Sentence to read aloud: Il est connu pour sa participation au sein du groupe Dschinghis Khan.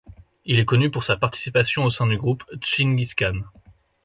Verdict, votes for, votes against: accepted, 2, 0